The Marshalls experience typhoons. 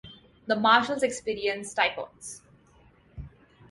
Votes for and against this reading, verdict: 2, 0, accepted